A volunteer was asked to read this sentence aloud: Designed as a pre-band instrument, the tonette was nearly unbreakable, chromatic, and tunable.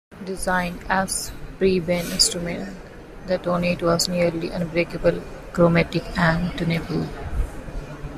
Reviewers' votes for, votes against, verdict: 1, 2, rejected